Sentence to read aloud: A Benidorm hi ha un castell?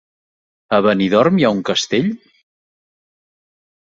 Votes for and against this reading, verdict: 4, 0, accepted